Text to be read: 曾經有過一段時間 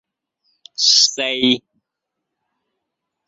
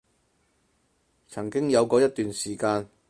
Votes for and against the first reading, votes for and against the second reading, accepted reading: 0, 2, 4, 0, second